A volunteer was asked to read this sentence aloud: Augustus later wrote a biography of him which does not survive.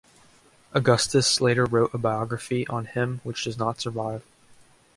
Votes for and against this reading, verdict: 1, 2, rejected